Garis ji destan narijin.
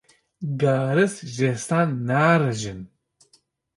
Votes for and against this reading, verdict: 2, 0, accepted